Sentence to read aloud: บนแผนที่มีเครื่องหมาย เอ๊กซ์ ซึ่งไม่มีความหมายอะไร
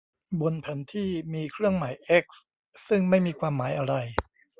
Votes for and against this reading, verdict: 0, 2, rejected